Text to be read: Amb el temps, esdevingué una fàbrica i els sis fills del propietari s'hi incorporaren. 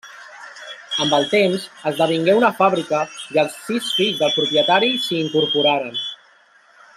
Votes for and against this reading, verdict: 3, 0, accepted